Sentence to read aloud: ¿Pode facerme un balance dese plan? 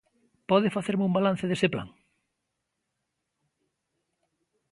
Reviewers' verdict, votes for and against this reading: accepted, 2, 0